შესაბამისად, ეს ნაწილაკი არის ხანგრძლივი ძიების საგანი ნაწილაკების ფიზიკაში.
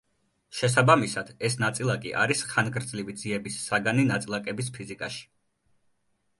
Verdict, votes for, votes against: accepted, 2, 0